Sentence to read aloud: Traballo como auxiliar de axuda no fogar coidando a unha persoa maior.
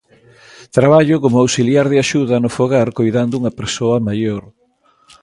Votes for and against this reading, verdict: 2, 0, accepted